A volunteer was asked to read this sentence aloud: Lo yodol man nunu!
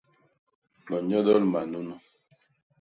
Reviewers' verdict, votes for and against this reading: rejected, 0, 2